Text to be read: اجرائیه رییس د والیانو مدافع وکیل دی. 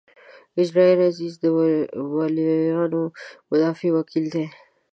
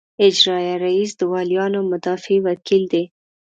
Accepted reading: second